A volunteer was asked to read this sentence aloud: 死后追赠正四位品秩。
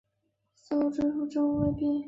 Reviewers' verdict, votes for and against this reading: rejected, 1, 2